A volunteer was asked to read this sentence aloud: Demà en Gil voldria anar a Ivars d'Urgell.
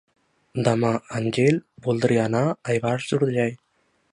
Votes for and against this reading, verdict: 2, 0, accepted